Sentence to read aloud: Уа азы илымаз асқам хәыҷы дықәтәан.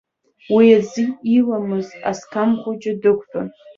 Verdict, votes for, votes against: accepted, 2, 1